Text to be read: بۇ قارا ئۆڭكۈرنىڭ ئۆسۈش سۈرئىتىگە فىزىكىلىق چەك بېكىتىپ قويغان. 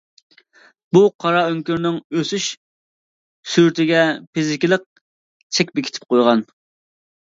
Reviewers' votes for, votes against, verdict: 2, 0, accepted